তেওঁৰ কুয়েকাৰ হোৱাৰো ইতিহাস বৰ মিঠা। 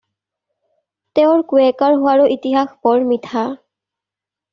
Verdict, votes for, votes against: accepted, 2, 0